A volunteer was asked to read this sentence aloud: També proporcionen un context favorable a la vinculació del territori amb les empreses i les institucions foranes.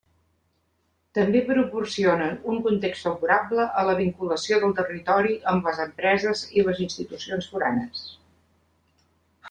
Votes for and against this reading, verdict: 3, 1, accepted